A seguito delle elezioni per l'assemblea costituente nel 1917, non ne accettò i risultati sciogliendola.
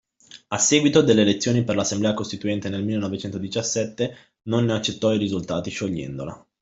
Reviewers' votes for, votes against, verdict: 0, 2, rejected